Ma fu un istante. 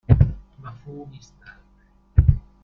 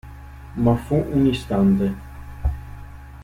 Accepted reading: second